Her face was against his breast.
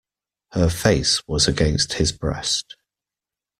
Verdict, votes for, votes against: accepted, 2, 0